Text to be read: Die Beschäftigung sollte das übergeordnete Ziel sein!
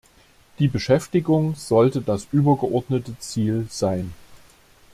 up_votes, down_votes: 2, 0